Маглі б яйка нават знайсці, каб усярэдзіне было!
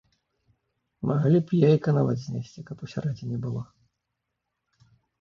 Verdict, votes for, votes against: rejected, 1, 2